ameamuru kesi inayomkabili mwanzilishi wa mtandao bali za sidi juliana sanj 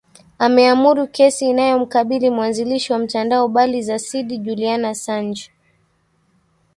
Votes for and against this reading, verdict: 2, 1, accepted